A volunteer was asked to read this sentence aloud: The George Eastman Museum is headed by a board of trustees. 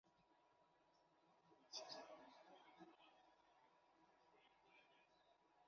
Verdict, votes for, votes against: rejected, 0, 2